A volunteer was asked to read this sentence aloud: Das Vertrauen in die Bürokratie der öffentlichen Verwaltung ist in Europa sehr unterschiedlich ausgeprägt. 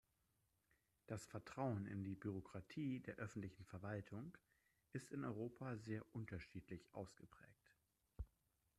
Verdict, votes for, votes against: rejected, 0, 2